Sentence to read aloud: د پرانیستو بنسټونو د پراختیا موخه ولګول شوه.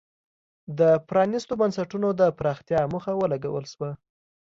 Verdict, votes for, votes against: accepted, 2, 0